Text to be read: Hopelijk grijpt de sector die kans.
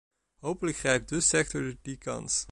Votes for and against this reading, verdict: 1, 2, rejected